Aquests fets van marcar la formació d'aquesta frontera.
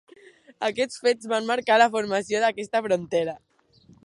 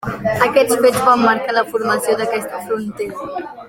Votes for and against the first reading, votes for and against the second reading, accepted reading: 4, 0, 1, 2, first